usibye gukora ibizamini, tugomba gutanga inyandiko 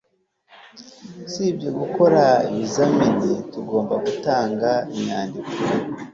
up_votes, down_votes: 3, 0